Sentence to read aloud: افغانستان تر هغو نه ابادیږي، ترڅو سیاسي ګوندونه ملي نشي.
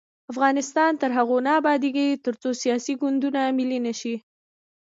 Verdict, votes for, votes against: rejected, 1, 2